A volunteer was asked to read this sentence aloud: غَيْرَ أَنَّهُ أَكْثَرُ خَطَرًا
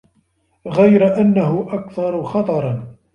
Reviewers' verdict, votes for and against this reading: accepted, 2, 0